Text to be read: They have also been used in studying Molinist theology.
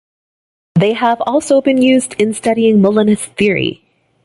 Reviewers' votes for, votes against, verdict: 0, 2, rejected